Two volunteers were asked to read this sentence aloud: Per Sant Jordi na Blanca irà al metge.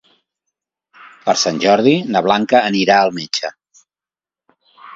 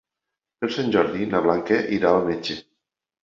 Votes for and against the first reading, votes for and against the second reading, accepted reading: 0, 2, 2, 0, second